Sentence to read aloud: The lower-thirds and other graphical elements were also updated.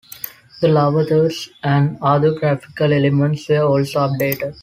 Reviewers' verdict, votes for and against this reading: accepted, 3, 2